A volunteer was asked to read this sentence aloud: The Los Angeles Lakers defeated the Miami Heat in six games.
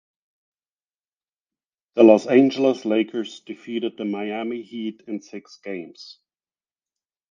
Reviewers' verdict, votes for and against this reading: accepted, 4, 2